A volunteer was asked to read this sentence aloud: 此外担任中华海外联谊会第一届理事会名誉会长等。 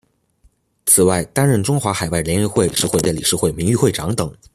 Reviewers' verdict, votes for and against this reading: rejected, 0, 2